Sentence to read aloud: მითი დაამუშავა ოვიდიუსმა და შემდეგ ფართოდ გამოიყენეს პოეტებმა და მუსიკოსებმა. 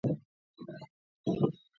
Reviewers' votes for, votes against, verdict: 1, 2, rejected